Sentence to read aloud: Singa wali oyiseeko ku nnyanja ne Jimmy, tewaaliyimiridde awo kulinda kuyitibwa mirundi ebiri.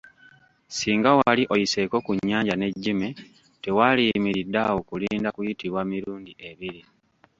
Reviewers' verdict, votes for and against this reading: rejected, 1, 2